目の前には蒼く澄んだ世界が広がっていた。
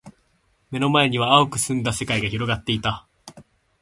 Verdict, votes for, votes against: accepted, 2, 0